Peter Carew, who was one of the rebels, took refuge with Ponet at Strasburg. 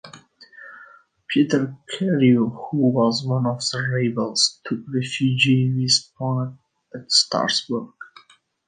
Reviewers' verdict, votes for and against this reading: rejected, 1, 2